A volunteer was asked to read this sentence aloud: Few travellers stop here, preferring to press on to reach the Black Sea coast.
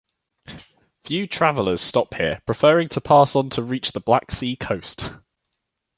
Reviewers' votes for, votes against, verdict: 1, 2, rejected